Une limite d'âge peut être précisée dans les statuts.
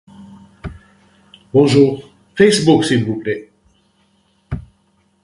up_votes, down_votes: 0, 2